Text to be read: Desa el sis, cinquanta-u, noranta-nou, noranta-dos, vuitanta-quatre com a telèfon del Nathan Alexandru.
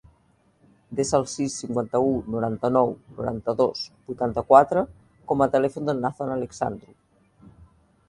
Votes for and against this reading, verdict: 2, 0, accepted